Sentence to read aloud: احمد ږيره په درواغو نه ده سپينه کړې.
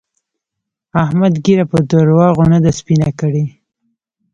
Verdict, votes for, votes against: rejected, 0, 2